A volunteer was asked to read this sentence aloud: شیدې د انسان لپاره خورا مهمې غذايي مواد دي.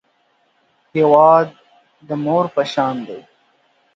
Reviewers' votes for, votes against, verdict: 0, 2, rejected